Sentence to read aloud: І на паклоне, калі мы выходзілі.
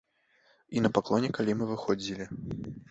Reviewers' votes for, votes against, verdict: 2, 0, accepted